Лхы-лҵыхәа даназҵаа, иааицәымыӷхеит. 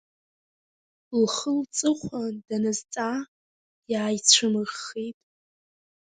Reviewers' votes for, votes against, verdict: 2, 3, rejected